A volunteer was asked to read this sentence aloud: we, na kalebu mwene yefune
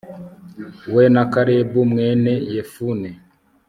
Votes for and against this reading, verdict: 2, 0, accepted